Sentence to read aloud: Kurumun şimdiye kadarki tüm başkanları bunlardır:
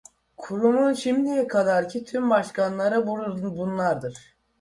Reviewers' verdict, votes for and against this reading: rejected, 0, 2